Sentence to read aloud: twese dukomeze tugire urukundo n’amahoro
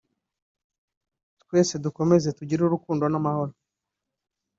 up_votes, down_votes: 2, 0